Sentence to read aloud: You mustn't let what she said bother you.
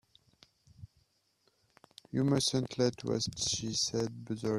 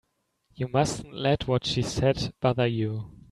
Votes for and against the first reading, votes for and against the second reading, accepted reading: 0, 2, 3, 0, second